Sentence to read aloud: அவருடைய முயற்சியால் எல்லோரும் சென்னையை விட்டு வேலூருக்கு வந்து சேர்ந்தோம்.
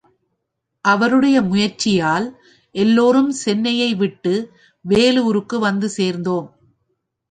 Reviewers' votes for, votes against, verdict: 3, 0, accepted